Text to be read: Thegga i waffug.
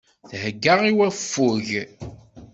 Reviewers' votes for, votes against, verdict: 2, 0, accepted